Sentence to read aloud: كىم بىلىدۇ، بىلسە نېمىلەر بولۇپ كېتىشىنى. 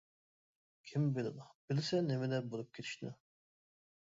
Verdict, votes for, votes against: rejected, 1, 2